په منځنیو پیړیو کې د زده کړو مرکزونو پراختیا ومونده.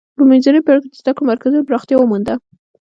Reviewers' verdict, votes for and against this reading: rejected, 1, 2